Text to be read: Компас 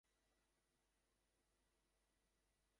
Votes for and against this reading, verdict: 0, 2, rejected